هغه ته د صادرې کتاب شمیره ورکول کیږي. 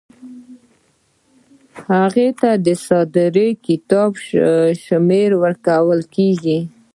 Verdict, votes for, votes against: accepted, 2, 1